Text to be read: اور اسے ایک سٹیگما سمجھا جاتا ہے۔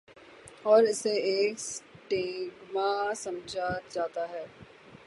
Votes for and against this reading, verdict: 0, 3, rejected